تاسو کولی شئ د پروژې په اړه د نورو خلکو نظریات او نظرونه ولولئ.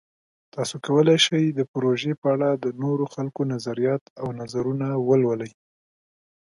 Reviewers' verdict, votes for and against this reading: accepted, 2, 0